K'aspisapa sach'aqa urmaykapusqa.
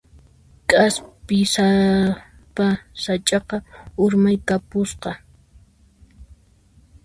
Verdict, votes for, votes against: rejected, 0, 2